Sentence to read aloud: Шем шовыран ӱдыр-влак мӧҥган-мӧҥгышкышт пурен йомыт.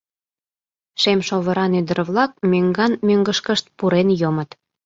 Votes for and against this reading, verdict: 2, 0, accepted